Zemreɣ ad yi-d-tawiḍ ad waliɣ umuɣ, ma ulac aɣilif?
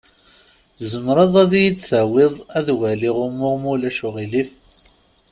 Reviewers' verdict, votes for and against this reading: rejected, 0, 2